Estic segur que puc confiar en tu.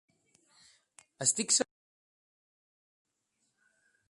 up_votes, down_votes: 1, 2